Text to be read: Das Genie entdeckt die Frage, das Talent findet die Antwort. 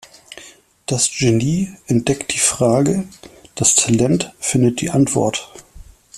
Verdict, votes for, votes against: accepted, 2, 0